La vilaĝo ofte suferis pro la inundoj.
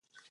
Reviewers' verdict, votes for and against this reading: rejected, 1, 2